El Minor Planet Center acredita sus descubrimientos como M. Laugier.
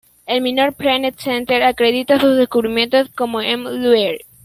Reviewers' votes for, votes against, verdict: 0, 2, rejected